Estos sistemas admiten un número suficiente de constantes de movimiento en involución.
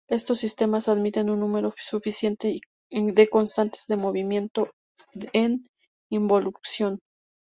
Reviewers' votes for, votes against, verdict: 0, 2, rejected